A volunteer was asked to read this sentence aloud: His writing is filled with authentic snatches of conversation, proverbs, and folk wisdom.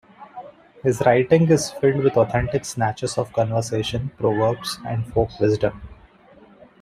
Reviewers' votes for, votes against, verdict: 2, 0, accepted